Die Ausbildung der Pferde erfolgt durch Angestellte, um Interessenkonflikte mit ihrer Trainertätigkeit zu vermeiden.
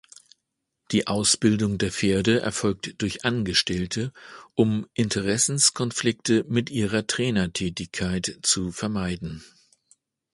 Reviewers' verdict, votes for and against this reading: rejected, 1, 2